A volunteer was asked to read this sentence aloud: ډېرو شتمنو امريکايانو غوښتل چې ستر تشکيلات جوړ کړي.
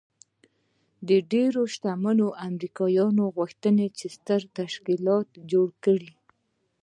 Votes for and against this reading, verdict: 0, 2, rejected